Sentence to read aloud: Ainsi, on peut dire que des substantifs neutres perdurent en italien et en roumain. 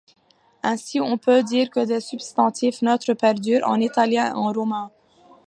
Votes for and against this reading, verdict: 1, 2, rejected